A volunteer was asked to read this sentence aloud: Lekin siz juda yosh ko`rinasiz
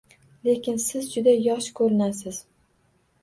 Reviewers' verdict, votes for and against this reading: accepted, 2, 0